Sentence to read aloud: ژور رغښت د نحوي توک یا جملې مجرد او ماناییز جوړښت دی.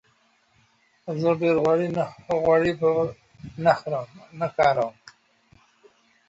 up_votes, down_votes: 0, 2